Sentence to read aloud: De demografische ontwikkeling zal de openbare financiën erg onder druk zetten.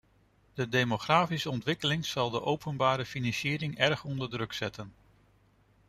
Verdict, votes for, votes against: rejected, 1, 2